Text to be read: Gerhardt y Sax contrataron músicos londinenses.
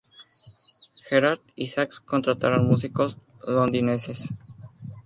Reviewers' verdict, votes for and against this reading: accepted, 2, 0